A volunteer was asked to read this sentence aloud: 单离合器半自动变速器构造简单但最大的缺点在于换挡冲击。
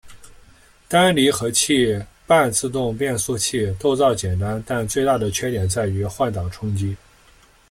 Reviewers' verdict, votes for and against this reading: accepted, 2, 0